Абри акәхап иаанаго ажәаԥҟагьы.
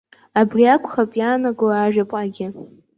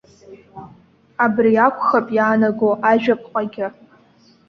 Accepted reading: second